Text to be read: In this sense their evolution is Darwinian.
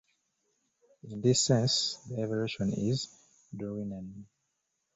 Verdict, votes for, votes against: rejected, 0, 2